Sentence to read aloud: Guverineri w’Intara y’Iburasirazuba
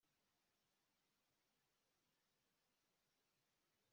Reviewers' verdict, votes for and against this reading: rejected, 2, 3